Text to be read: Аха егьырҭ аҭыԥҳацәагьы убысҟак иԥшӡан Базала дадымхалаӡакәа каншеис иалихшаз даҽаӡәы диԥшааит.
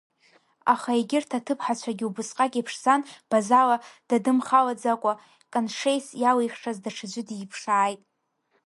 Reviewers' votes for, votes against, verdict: 2, 0, accepted